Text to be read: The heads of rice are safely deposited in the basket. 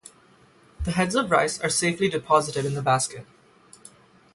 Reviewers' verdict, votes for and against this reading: accepted, 3, 0